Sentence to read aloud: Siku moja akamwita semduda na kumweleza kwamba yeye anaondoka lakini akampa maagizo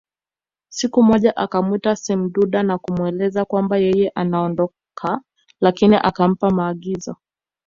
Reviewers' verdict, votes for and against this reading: accepted, 2, 0